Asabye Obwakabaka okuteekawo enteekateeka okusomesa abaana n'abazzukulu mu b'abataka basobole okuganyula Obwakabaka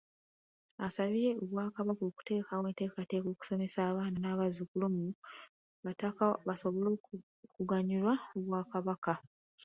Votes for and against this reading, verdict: 1, 2, rejected